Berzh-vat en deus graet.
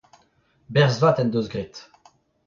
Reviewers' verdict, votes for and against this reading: rejected, 0, 2